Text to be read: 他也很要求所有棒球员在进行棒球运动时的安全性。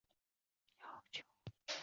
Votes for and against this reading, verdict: 1, 2, rejected